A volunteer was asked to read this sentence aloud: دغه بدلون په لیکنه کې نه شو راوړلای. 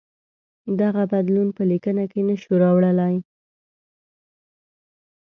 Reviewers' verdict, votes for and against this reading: accepted, 2, 0